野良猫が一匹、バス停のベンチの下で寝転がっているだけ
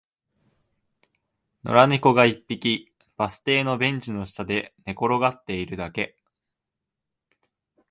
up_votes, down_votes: 2, 0